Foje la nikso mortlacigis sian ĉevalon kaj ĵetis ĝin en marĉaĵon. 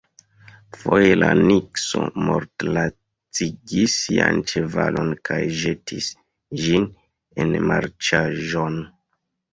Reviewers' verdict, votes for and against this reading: rejected, 0, 2